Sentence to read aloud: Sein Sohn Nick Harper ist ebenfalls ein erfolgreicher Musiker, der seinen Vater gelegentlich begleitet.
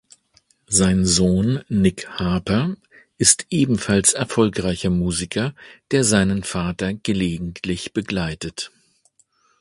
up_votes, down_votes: 1, 2